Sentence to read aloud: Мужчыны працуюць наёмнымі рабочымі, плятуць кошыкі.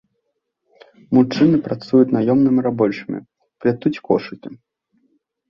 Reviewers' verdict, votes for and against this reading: rejected, 0, 2